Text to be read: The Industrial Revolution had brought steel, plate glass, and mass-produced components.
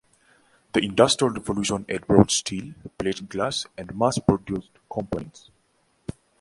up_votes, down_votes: 1, 2